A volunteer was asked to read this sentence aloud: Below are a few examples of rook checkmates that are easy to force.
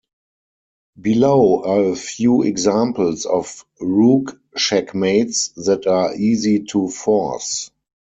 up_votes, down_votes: 4, 0